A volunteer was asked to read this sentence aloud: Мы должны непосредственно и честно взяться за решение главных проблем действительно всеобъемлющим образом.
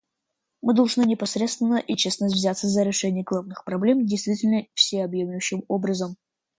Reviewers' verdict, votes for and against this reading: accepted, 2, 0